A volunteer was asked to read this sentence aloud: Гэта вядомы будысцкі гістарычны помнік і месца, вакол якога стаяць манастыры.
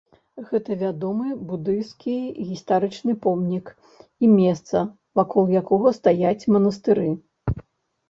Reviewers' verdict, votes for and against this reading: accepted, 2, 0